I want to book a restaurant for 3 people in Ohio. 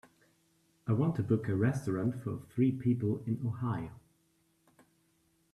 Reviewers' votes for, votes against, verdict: 0, 2, rejected